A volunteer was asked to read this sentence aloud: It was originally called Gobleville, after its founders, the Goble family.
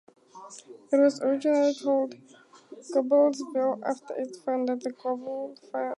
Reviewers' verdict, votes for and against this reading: rejected, 0, 4